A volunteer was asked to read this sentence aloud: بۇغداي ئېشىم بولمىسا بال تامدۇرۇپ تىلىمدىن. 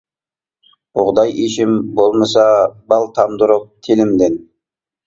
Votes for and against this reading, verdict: 2, 0, accepted